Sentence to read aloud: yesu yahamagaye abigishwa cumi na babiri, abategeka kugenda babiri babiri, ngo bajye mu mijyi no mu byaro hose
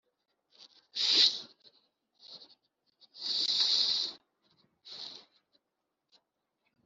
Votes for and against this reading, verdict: 0, 3, rejected